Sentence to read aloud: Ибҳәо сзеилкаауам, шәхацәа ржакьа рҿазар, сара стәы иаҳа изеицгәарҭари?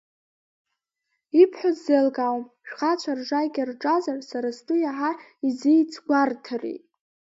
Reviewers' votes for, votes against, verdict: 1, 2, rejected